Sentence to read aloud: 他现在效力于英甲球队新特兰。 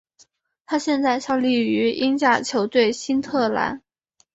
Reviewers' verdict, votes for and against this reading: accepted, 3, 0